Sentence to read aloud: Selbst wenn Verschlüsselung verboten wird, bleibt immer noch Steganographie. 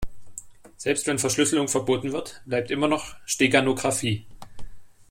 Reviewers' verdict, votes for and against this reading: accepted, 2, 0